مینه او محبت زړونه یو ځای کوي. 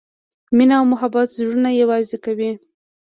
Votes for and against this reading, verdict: 1, 2, rejected